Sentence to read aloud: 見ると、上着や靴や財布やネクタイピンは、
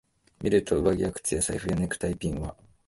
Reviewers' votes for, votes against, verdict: 1, 2, rejected